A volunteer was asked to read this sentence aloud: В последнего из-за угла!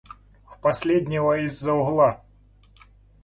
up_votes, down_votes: 2, 1